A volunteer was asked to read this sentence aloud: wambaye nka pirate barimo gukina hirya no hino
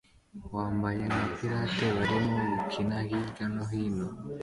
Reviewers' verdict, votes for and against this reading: accepted, 2, 0